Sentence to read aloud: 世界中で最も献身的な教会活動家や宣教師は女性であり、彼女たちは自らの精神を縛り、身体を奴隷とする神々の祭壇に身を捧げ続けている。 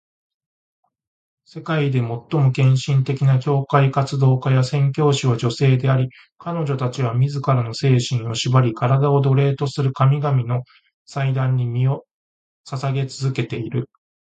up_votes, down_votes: 0, 2